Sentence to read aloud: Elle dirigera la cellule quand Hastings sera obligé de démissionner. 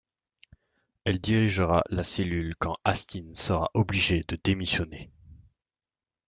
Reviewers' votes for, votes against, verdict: 1, 2, rejected